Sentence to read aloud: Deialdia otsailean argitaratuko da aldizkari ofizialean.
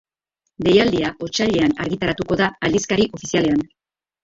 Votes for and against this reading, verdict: 0, 3, rejected